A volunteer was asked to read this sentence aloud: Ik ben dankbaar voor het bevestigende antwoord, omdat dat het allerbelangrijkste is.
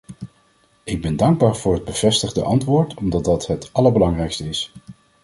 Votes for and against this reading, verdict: 1, 2, rejected